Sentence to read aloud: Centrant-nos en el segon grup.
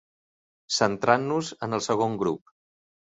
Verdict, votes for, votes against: accepted, 3, 0